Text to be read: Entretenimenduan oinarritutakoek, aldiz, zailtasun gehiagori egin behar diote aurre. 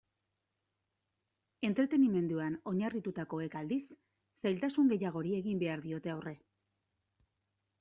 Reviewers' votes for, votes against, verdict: 2, 0, accepted